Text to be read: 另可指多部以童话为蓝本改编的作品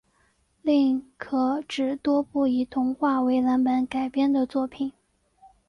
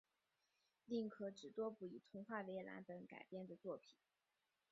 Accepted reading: first